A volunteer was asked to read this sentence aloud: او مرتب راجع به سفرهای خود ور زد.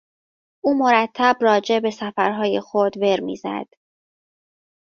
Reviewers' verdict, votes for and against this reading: rejected, 1, 2